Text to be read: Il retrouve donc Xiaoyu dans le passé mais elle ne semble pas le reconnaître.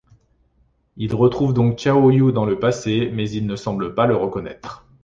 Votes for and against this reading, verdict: 0, 2, rejected